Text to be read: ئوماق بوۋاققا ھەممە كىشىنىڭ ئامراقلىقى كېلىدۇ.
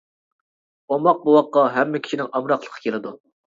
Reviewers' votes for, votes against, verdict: 2, 0, accepted